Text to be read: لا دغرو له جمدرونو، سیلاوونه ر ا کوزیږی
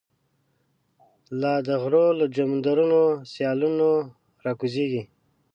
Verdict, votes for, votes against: rejected, 1, 2